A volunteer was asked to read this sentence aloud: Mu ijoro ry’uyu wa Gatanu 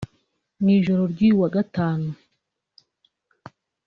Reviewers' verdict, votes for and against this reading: rejected, 1, 2